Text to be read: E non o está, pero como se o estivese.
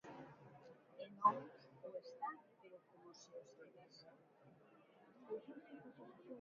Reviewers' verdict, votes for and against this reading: rejected, 0, 2